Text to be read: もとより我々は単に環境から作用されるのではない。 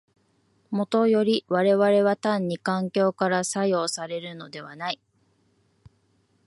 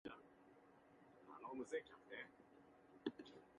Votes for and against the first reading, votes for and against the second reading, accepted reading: 2, 0, 0, 2, first